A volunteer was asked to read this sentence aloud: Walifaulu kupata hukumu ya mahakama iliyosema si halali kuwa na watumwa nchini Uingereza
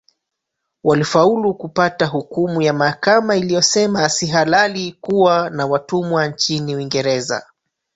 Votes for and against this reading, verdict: 0, 2, rejected